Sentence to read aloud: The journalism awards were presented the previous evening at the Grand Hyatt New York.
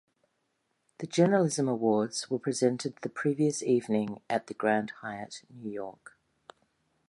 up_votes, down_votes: 2, 0